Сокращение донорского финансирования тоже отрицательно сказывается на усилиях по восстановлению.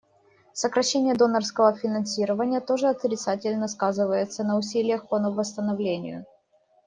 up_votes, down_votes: 1, 2